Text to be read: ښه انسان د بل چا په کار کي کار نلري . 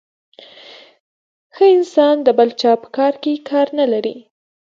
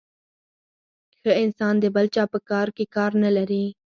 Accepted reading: second